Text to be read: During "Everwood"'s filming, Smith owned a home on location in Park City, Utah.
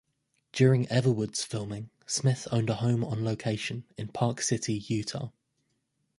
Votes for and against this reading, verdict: 2, 0, accepted